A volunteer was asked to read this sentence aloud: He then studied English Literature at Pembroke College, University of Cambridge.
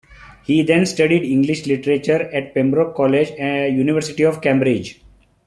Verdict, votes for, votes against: rejected, 1, 2